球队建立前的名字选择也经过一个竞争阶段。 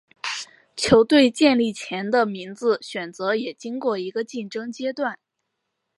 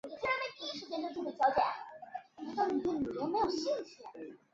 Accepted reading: first